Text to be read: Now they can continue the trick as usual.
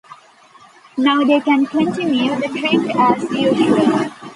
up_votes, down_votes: 1, 2